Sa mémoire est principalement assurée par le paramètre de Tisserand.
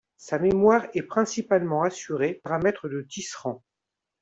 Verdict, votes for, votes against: rejected, 0, 2